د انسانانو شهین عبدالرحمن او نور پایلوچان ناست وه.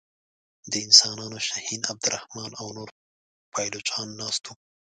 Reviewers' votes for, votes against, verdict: 2, 1, accepted